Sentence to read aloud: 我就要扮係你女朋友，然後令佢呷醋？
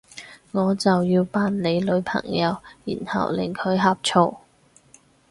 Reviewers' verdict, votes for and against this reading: rejected, 0, 4